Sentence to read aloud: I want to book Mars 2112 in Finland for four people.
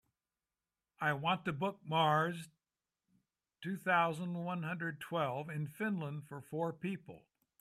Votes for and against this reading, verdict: 0, 2, rejected